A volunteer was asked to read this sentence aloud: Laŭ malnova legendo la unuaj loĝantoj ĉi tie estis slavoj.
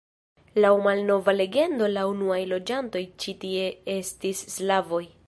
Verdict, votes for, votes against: accepted, 2, 0